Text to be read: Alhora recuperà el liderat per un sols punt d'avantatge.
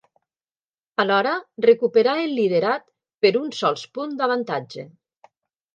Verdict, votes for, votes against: accepted, 3, 0